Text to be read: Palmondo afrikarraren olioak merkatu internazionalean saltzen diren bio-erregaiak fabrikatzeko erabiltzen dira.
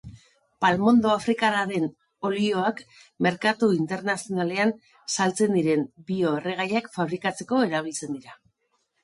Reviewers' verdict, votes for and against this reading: accepted, 2, 0